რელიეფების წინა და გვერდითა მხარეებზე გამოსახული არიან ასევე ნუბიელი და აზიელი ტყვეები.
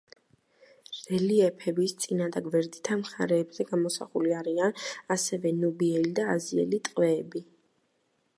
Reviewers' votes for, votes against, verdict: 2, 0, accepted